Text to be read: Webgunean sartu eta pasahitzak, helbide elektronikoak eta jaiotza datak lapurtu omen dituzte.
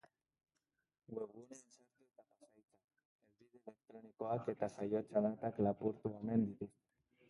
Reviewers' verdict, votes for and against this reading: rejected, 0, 2